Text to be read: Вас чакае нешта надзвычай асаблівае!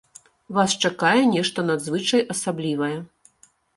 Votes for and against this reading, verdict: 2, 1, accepted